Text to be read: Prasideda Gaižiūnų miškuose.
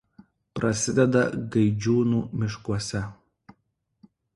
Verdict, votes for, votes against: rejected, 1, 2